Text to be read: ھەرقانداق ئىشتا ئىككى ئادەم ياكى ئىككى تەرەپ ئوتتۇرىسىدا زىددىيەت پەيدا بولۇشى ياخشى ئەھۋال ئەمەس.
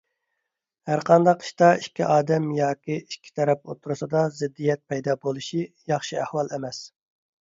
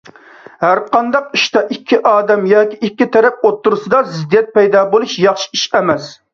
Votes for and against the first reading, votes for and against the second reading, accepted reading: 2, 0, 0, 2, first